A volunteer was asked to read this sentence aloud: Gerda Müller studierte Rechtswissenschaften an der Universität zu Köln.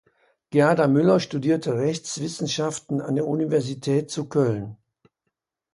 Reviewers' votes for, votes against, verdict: 2, 0, accepted